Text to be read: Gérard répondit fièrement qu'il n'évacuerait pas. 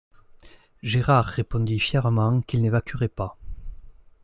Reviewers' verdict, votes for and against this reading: accepted, 2, 0